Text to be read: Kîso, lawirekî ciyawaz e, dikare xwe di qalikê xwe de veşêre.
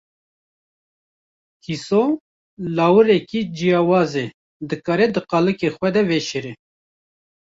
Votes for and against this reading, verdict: 1, 2, rejected